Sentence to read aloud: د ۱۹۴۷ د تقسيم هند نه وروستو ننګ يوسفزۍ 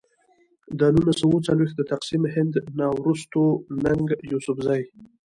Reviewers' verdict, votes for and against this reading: rejected, 0, 2